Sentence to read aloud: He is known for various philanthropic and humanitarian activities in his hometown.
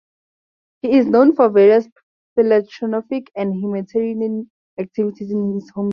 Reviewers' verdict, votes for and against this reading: rejected, 0, 4